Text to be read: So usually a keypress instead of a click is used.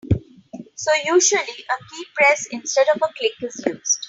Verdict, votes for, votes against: accepted, 3, 0